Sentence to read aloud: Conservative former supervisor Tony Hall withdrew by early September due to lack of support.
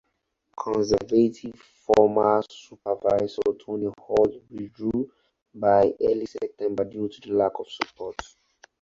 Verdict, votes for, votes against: rejected, 2, 2